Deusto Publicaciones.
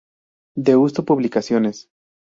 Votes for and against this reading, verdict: 2, 0, accepted